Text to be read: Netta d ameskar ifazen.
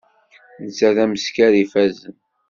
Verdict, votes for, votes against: accepted, 2, 0